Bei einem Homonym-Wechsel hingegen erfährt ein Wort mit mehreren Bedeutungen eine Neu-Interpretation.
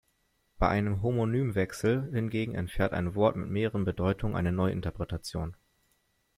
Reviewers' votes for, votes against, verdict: 1, 2, rejected